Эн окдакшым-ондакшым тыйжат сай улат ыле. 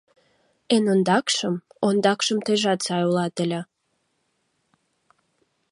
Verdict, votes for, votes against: accepted, 2, 0